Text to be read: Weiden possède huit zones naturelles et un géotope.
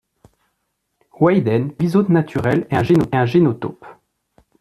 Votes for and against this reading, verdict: 1, 2, rejected